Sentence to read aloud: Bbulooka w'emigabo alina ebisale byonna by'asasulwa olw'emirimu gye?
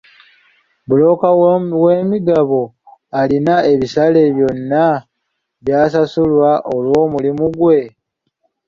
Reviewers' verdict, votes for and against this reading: rejected, 0, 2